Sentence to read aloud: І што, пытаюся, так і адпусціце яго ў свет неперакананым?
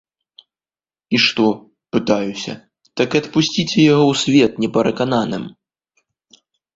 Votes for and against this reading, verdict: 1, 2, rejected